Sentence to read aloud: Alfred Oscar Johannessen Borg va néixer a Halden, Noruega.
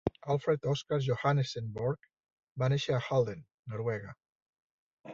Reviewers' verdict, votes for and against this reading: accepted, 2, 0